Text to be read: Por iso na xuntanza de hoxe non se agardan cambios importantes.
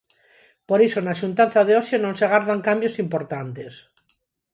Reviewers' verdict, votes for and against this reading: accepted, 4, 0